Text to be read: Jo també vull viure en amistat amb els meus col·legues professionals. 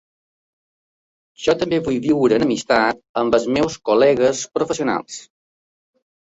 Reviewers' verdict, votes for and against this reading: rejected, 1, 2